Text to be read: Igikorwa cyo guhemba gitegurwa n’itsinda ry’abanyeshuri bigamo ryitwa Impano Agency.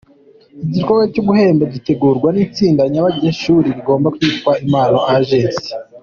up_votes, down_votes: 2, 1